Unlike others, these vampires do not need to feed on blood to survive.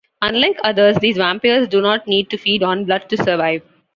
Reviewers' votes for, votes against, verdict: 2, 1, accepted